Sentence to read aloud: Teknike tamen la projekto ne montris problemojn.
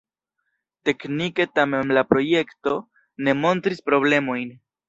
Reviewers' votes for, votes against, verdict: 1, 2, rejected